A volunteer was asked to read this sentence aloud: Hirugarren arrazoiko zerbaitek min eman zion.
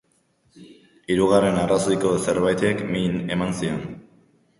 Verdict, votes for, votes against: rejected, 0, 2